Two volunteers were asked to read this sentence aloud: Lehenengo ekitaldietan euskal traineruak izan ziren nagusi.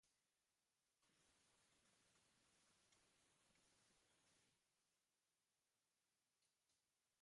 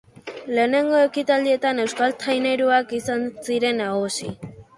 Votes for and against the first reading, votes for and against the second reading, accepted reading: 0, 2, 4, 0, second